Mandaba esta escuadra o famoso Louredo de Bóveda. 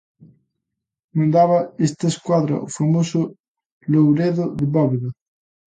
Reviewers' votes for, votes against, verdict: 2, 0, accepted